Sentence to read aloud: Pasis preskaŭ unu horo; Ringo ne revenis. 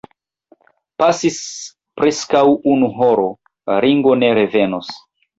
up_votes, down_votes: 0, 3